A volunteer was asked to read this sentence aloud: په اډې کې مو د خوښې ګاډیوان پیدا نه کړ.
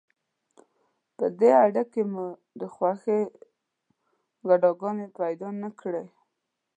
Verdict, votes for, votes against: rejected, 0, 2